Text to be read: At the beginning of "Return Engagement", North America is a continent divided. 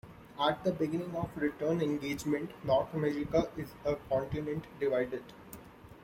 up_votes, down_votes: 2, 0